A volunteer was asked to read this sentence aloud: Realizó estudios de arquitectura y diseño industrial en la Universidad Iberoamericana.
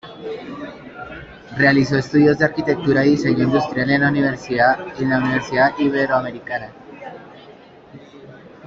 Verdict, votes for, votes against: rejected, 0, 2